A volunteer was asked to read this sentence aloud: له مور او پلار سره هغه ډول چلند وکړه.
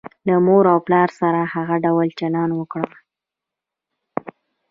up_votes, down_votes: 2, 1